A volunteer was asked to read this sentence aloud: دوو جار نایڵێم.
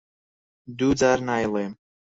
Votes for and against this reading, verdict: 4, 0, accepted